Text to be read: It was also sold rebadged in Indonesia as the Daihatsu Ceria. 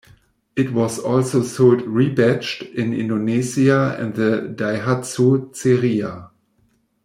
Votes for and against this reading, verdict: 0, 2, rejected